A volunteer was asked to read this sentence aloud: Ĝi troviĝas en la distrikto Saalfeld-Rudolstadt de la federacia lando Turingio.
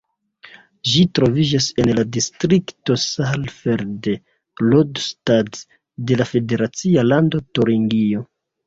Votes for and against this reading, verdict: 2, 0, accepted